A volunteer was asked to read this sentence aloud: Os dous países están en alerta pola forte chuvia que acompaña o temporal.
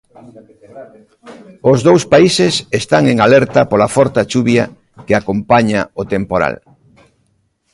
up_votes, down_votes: 0, 2